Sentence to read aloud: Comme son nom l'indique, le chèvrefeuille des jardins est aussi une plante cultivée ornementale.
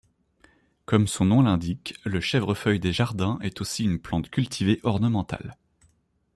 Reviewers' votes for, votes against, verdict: 2, 0, accepted